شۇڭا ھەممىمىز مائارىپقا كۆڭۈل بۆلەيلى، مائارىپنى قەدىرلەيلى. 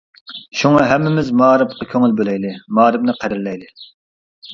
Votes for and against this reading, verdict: 2, 0, accepted